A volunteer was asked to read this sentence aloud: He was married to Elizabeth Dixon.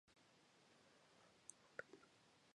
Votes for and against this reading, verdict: 0, 2, rejected